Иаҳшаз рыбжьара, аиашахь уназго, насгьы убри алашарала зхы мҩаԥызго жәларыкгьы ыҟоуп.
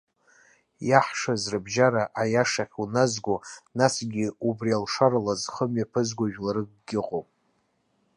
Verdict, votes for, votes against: rejected, 1, 2